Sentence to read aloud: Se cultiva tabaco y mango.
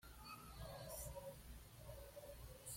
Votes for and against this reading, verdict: 1, 2, rejected